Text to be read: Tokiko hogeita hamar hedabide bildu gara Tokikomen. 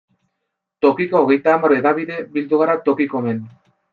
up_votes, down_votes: 2, 0